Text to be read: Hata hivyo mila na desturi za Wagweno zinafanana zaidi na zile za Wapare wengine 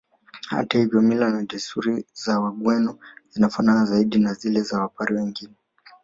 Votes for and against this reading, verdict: 2, 0, accepted